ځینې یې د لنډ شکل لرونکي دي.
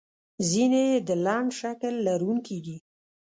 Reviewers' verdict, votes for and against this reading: accepted, 2, 0